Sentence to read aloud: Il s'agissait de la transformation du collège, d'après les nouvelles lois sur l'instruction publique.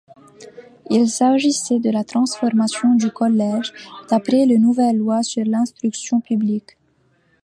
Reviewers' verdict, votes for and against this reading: accepted, 2, 0